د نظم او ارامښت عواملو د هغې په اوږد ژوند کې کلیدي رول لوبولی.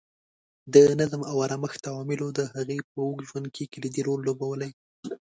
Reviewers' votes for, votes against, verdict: 4, 0, accepted